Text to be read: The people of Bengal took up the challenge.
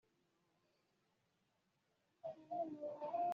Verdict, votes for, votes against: rejected, 0, 2